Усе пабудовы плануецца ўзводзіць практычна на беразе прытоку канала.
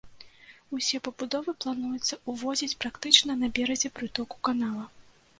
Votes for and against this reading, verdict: 1, 2, rejected